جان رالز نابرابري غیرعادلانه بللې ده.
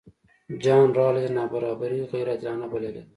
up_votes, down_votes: 1, 2